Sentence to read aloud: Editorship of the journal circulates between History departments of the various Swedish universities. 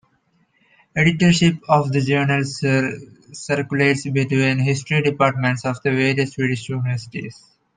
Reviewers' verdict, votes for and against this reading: rejected, 0, 2